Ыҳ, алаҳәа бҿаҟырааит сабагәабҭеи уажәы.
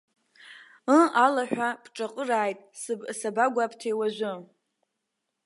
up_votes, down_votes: 1, 2